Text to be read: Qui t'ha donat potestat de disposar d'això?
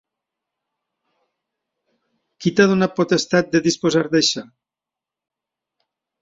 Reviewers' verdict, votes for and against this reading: accepted, 2, 0